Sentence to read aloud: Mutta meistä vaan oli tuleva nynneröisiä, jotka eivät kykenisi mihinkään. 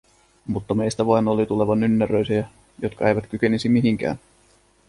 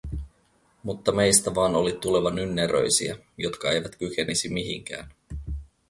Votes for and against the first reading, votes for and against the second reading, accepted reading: 1, 2, 4, 0, second